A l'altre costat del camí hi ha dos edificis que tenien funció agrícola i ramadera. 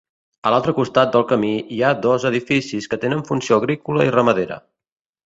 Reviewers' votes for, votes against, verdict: 0, 2, rejected